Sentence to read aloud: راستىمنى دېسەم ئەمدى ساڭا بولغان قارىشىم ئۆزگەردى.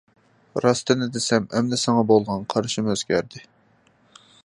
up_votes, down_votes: 2, 1